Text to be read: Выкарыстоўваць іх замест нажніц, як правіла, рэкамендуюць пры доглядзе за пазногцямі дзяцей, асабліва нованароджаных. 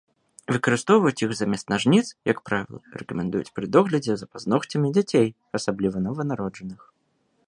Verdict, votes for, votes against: accepted, 2, 0